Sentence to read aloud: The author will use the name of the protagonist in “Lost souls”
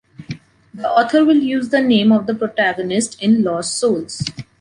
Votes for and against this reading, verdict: 2, 0, accepted